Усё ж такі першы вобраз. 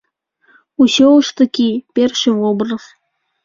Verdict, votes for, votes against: accepted, 2, 0